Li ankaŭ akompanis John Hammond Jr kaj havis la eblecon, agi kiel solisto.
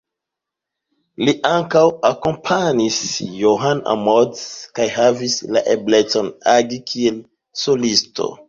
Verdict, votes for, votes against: accepted, 2, 1